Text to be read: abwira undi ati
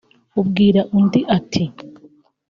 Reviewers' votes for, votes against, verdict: 3, 0, accepted